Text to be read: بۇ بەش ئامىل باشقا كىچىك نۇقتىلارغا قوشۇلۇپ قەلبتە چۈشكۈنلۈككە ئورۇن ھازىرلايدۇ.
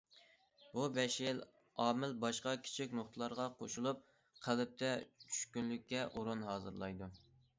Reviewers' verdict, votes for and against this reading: rejected, 1, 2